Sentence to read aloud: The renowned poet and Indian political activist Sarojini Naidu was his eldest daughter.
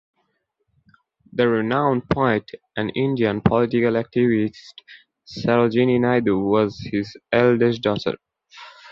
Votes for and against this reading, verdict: 1, 2, rejected